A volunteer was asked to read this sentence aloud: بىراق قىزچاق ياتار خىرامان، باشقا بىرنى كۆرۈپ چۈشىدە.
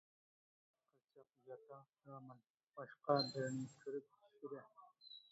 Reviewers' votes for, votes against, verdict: 0, 2, rejected